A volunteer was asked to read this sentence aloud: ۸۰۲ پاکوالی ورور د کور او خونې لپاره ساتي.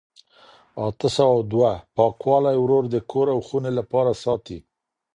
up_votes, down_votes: 0, 2